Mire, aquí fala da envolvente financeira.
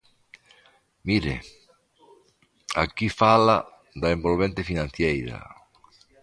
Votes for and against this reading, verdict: 1, 2, rejected